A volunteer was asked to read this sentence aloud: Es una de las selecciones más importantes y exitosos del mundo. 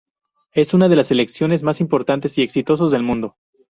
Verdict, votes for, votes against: rejected, 2, 2